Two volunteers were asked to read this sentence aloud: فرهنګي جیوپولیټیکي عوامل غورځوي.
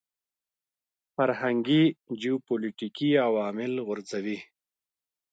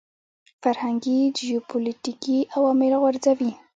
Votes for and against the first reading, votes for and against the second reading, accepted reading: 2, 0, 0, 2, first